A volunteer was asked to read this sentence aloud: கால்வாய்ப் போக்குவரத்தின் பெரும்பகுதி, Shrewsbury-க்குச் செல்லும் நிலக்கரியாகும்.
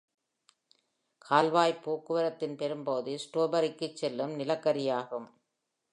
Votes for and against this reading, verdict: 2, 0, accepted